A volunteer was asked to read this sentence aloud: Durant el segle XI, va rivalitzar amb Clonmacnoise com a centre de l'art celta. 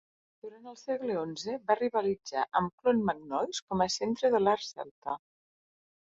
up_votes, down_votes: 1, 2